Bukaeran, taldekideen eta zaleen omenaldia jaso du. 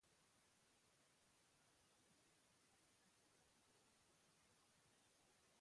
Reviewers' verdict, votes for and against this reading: rejected, 0, 2